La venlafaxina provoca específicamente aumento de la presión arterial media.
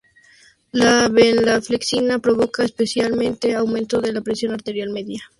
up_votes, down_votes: 2, 2